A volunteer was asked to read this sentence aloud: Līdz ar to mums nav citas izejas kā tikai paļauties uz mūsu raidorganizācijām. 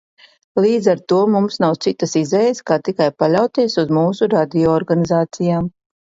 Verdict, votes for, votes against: rejected, 0, 2